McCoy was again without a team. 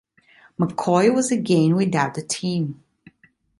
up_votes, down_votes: 2, 0